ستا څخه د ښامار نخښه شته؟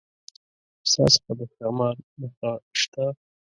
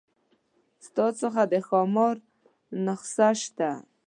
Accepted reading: first